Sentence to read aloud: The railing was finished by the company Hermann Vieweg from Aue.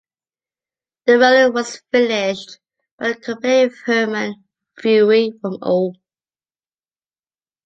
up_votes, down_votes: 2, 0